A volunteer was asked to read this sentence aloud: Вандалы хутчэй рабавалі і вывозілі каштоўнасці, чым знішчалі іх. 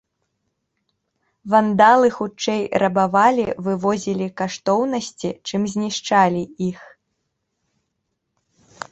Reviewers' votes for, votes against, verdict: 2, 1, accepted